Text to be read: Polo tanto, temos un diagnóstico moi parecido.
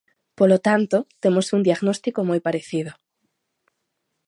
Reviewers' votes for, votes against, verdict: 2, 0, accepted